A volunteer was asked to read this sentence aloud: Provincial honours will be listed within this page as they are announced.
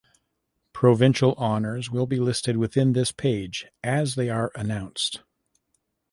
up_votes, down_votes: 3, 0